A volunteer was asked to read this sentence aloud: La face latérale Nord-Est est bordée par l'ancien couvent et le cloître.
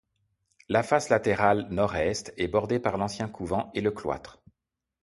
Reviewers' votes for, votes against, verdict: 2, 0, accepted